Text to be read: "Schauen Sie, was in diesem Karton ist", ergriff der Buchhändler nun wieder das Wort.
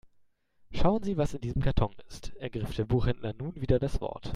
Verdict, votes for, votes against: accepted, 2, 0